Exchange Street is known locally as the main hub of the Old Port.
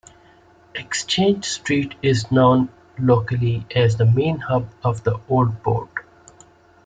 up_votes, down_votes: 2, 0